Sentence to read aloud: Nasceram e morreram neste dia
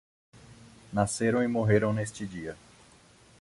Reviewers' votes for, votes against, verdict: 2, 0, accepted